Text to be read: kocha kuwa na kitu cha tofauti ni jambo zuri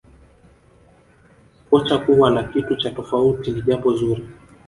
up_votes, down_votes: 1, 2